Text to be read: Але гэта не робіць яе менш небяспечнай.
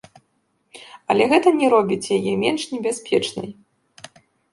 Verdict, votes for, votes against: accepted, 2, 0